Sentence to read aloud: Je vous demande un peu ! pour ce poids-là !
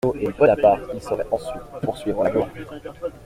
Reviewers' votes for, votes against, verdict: 0, 2, rejected